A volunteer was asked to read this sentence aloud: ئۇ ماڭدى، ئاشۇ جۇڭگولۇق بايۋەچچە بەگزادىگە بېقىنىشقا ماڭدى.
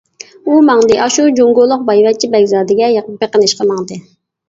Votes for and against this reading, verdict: 1, 2, rejected